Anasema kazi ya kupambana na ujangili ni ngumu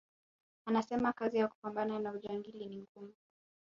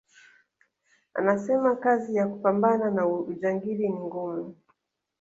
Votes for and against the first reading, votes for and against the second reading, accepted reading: 1, 2, 3, 0, second